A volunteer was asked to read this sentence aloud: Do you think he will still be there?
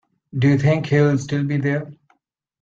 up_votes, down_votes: 2, 0